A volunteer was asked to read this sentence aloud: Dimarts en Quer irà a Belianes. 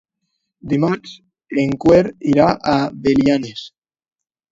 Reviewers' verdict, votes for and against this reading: rejected, 0, 3